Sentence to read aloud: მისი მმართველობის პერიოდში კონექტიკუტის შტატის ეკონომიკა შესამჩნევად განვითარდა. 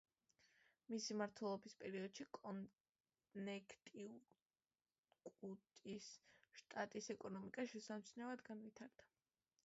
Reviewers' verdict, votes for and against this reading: accepted, 2, 1